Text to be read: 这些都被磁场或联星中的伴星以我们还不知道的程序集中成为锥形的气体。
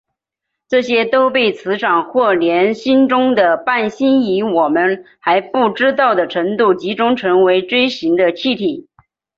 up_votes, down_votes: 0, 2